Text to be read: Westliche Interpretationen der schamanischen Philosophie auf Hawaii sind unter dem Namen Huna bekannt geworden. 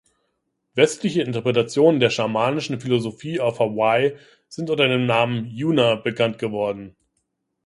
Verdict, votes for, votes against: rejected, 0, 2